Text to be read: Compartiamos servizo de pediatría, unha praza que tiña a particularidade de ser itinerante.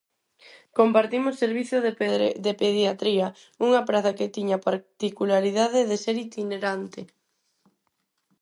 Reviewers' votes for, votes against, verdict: 0, 4, rejected